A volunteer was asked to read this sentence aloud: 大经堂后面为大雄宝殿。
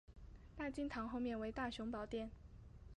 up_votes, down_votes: 2, 0